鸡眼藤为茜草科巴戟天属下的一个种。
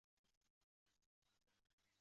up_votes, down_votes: 0, 3